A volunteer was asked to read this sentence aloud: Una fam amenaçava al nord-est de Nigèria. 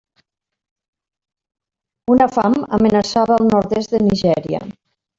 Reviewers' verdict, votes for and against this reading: accepted, 2, 1